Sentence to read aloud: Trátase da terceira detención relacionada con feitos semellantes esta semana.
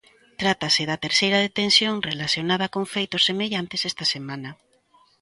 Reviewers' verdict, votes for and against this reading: accepted, 2, 0